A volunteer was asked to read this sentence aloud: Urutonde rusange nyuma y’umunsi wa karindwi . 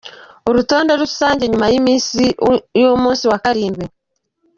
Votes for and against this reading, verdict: 1, 2, rejected